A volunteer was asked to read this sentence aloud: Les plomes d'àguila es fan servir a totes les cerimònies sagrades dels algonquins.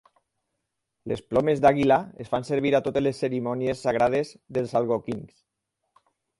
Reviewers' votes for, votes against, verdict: 4, 0, accepted